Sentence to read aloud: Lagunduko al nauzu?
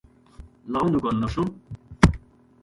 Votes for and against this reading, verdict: 1, 2, rejected